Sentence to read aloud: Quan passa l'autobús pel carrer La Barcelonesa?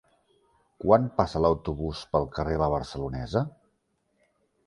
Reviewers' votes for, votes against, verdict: 2, 0, accepted